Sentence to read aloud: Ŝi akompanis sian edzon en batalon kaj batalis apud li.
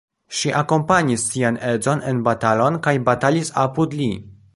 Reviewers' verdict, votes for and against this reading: rejected, 0, 2